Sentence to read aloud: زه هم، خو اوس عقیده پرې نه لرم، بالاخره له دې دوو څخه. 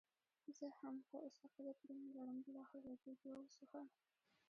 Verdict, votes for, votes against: accepted, 2, 0